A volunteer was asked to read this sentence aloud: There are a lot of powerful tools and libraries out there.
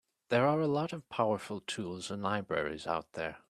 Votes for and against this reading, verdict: 2, 0, accepted